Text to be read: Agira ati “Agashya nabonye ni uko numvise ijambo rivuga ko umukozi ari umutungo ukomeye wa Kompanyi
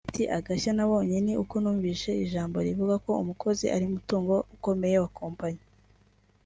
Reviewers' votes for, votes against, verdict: 2, 0, accepted